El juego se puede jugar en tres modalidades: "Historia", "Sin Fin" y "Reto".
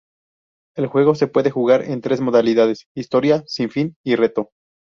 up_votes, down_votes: 2, 0